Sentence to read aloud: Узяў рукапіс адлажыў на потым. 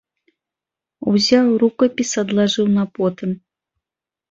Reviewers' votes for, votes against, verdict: 2, 0, accepted